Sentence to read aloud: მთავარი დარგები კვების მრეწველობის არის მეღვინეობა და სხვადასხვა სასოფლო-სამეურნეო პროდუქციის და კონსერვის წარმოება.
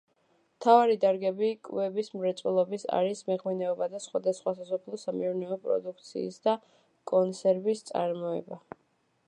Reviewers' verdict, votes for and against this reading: accepted, 2, 0